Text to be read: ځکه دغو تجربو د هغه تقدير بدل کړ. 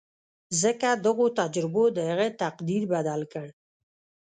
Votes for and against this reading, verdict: 0, 2, rejected